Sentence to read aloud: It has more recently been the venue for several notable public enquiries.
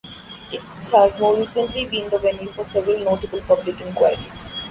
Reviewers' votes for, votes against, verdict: 2, 1, accepted